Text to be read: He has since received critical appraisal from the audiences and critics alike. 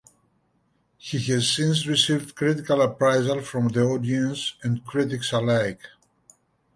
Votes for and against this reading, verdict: 0, 2, rejected